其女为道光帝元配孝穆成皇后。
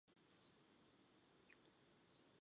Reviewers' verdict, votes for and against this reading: rejected, 0, 2